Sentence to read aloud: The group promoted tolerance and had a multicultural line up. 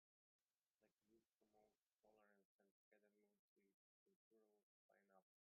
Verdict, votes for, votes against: rejected, 0, 3